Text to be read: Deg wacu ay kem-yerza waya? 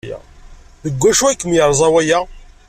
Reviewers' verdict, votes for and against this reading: accepted, 2, 0